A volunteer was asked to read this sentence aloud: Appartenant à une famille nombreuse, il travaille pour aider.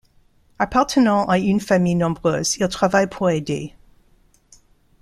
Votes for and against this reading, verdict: 2, 0, accepted